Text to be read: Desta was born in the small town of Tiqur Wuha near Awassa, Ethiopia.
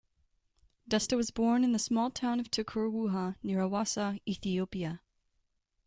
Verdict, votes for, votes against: accepted, 2, 0